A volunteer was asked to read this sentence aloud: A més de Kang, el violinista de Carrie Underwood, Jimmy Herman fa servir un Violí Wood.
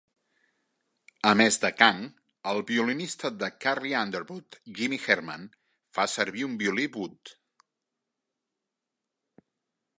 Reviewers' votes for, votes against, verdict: 3, 0, accepted